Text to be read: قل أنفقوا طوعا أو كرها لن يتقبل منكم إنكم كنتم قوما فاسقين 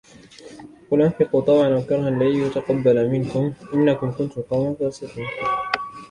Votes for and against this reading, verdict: 2, 0, accepted